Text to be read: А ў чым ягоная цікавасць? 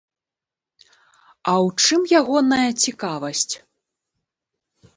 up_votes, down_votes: 2, 0